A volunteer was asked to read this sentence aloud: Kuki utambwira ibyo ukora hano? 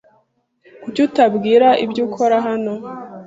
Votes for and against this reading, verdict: 0, 2, rejected